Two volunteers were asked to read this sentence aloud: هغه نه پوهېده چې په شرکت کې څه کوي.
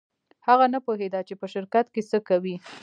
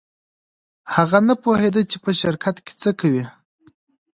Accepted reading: first